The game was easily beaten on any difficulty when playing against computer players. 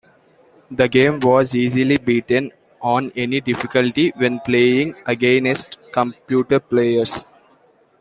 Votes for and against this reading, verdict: 1, 2, rejected